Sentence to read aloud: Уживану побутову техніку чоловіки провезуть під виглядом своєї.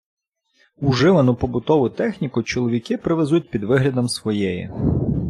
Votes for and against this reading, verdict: 2, 0, accepted